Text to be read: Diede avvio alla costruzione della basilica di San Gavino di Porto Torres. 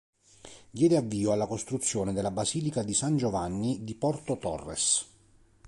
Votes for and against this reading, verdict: 0, 3, rejected